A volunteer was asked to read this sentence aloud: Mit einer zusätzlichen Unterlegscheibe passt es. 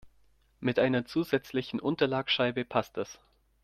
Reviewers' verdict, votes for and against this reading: rejected, 0, 2